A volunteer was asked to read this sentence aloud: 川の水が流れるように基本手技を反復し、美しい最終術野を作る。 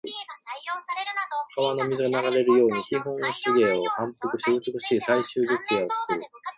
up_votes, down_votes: 1, 2